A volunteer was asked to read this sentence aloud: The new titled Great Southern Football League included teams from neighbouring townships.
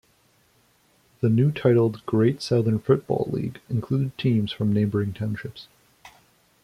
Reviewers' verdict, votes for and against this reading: rejected, 0, 2